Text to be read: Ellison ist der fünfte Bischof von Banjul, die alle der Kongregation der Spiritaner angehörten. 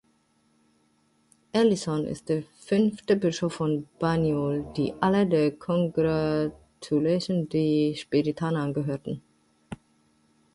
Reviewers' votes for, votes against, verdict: 0, 2, rejected